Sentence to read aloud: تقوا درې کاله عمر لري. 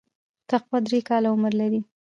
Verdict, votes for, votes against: accepted, 2, 0